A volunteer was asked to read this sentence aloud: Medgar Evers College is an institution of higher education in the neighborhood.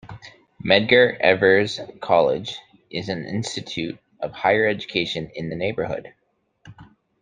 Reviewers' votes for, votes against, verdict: 2, 1, accepted